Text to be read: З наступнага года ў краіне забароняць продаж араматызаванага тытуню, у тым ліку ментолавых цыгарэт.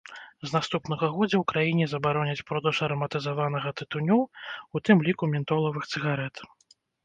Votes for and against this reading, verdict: 1, 2, rejected